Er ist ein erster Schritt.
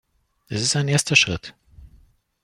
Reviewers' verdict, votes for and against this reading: rejected, 0, 2